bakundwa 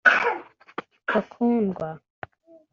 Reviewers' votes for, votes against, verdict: 2, 0, accepted